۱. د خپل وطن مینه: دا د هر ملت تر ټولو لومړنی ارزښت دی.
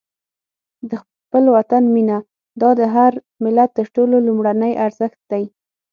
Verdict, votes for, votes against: rejected, 0, 2